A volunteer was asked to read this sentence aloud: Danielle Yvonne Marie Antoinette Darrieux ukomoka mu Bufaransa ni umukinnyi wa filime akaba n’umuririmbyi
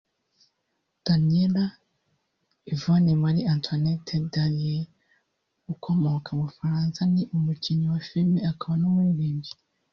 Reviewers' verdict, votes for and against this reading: rejected, 1, 2